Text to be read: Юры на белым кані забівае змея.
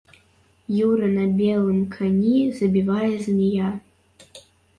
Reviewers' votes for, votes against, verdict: 2, 1, accepted